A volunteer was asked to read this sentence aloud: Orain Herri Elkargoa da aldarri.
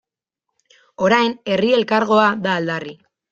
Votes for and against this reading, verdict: 2, 0, accepted